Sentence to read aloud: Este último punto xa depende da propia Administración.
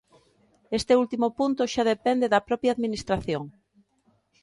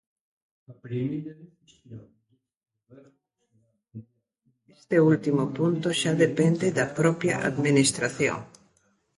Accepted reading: first